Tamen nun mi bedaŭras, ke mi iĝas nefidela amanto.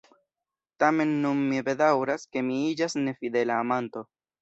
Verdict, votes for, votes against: accepted, 2, 1